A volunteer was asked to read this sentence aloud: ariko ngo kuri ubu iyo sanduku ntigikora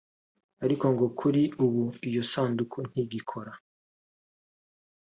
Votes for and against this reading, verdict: 2, 0, accepted